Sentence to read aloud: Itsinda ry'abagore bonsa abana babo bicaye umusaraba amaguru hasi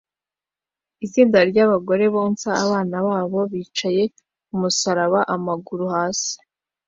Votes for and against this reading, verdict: 2, 0, accepted